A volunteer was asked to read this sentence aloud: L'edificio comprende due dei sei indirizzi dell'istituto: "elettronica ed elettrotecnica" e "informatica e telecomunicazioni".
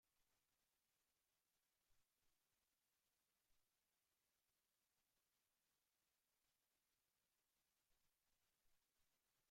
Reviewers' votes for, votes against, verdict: 0, 2, rejected